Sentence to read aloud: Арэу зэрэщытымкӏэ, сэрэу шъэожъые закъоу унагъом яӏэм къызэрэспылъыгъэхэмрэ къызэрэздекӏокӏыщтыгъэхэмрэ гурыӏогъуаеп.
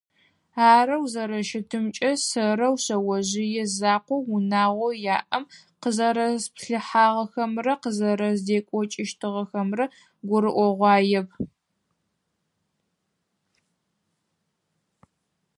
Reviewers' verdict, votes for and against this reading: rejected, 2, 4